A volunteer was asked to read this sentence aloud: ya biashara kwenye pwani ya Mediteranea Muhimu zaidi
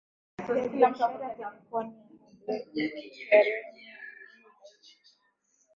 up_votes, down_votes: 0, 2